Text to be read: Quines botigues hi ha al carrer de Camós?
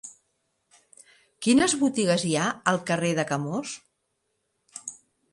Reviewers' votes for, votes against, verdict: 3, 0, accepted